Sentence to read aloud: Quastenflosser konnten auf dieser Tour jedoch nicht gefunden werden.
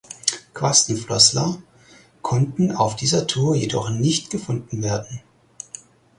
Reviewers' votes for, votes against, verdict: 4, 0, accepted